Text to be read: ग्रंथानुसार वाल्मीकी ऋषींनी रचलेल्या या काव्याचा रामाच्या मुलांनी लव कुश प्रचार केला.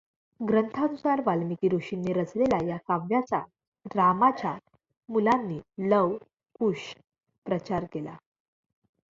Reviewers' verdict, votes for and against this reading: accepted, 2, 1